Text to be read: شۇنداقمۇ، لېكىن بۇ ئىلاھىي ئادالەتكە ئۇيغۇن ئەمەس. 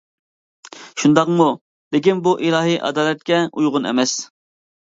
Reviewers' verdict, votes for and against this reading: accepted, 2, 0